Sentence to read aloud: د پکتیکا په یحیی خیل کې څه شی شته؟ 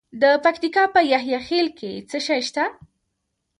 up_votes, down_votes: 1, 2